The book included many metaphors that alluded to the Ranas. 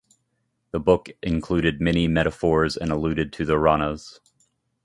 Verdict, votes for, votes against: rejected, 1, 2